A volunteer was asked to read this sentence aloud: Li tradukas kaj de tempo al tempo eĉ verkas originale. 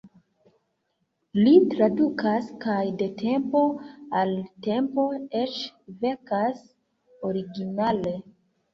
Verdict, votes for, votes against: accepted, 2, 0